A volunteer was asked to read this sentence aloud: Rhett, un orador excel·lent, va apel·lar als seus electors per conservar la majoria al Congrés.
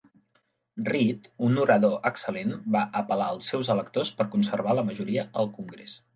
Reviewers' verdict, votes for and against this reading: accepted, 2, 0